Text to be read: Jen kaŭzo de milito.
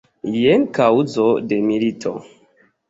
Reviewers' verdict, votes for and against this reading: accepted, 2, 0